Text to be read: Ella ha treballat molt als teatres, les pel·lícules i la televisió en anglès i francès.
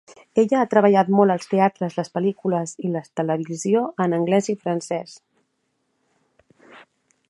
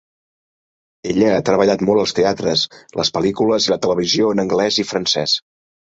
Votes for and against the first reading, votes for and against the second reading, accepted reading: 1, 2, 4, 0, second